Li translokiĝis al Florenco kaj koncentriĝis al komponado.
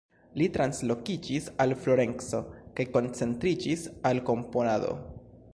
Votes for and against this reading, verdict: 1, 2, rejected